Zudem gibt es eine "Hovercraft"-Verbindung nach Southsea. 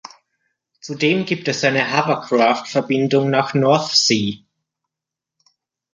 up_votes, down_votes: 0, 2